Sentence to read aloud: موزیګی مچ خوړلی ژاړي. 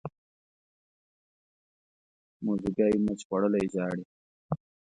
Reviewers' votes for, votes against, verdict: 0, 2, rejected